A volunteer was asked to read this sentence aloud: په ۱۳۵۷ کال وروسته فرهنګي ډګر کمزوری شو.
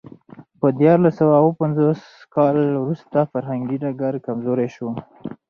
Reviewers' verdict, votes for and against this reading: rejected, 0, 2